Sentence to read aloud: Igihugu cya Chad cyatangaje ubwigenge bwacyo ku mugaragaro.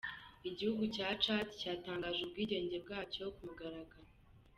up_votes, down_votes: 2, 0